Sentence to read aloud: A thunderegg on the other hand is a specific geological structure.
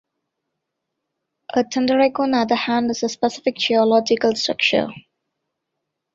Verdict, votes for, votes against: accepted, 2, 0